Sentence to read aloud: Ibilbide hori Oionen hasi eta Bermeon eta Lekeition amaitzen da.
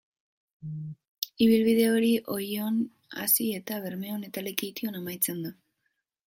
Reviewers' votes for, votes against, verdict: 0, 2, rejected